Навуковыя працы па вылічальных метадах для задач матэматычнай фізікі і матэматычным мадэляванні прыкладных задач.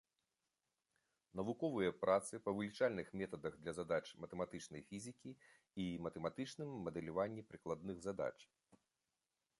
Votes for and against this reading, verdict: 2, 0, accepted